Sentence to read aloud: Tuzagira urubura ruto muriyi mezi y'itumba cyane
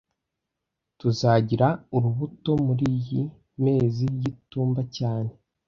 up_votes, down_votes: 0, 2